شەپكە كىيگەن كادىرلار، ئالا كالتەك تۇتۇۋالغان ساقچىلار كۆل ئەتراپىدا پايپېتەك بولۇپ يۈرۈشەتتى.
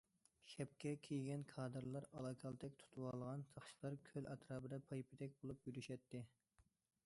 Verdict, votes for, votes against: accepted, 2, 0